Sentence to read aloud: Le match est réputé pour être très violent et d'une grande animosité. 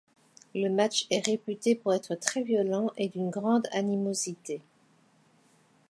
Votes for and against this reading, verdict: 2, 0, accepted